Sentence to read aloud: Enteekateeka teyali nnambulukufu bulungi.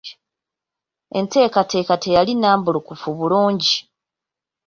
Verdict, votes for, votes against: rejected, 1, 2